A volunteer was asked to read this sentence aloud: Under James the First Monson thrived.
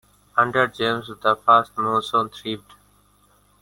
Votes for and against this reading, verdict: 2, 0, accepted